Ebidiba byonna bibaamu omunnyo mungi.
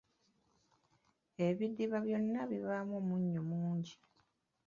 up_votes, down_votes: 1, 2